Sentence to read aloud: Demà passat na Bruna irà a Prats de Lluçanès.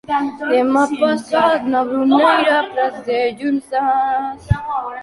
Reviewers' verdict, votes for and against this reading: rejected, 0, 2